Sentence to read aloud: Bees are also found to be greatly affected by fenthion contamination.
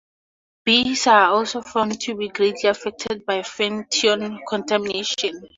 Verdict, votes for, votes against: accepted, 4, 0